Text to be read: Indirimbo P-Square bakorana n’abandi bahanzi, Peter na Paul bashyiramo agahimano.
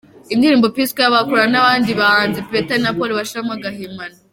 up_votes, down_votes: 2, 0